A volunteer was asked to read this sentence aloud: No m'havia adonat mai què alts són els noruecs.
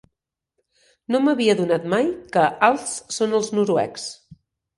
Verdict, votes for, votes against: accepted, 4, 0